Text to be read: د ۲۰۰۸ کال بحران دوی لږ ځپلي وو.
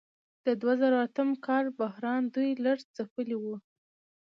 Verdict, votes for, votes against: rejected, 0, 2